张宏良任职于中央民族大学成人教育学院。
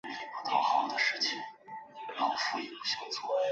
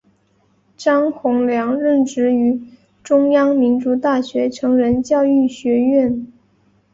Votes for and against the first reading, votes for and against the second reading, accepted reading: 0, 2, 4, 0, second